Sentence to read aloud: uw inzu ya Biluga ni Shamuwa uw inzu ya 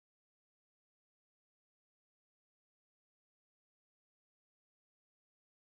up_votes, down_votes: 2, 4